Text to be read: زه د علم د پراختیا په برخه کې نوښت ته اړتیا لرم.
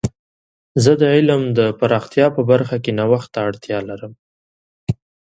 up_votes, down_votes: 2, 0